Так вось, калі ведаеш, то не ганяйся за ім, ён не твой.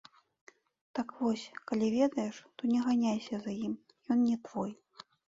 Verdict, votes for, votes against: rejected, 1, 2